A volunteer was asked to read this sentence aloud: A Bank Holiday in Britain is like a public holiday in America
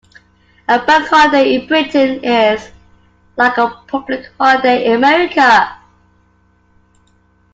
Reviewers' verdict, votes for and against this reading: accepted, 2, 0